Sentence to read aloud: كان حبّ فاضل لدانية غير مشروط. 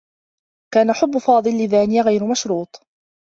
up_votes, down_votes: 2, 1